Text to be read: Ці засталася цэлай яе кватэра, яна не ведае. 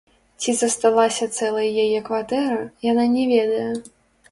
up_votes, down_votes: 0, 2